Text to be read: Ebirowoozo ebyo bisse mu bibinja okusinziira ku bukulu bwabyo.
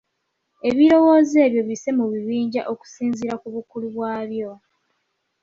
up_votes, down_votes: 2, 0